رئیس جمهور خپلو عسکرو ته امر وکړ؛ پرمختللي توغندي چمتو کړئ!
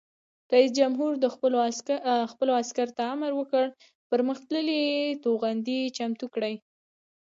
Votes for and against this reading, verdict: 1, 2, rejected